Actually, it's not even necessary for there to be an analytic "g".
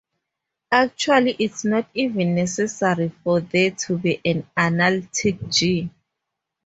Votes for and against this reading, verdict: 2, 0, accepted